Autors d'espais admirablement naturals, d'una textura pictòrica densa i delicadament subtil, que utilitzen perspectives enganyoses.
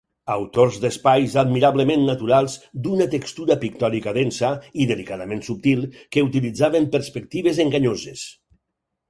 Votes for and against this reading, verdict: 0, 4, rejected